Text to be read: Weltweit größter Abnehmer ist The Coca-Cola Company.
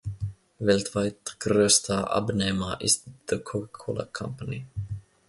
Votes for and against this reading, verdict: 1, 2, rejected